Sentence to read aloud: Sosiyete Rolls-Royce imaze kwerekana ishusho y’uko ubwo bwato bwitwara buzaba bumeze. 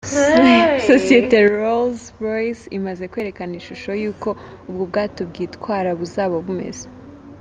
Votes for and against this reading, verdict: 4, 0, accepted